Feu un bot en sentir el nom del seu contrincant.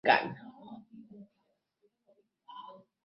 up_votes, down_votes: 0, 2